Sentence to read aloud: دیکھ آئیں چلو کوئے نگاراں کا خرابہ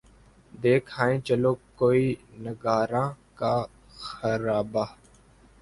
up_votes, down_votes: 0, 2